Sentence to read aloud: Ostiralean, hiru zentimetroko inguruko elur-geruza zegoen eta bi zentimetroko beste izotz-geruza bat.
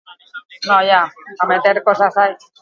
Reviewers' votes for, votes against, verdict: 0, 4, rejected